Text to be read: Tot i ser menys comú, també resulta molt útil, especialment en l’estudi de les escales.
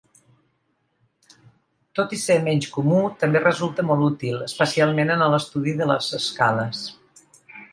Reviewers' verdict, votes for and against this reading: rejected, 0, 2